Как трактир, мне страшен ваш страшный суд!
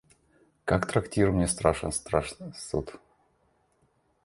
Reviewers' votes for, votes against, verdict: 1, 2, rejected